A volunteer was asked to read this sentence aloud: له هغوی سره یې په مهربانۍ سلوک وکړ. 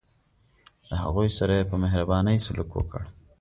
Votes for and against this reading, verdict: 2, 0, accepted